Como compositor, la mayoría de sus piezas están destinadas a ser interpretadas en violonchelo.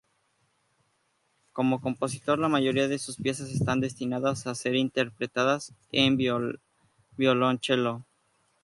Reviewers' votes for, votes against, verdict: 0, 2, rejected